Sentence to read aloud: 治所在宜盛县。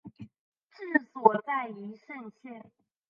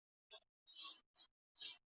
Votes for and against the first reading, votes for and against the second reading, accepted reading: 2, 1, 1, 3, first